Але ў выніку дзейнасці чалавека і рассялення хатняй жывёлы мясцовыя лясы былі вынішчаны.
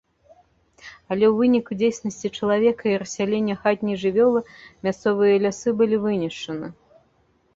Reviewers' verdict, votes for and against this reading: rejected, 1, 2